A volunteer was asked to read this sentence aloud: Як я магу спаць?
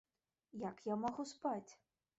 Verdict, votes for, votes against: accepted, 2, 0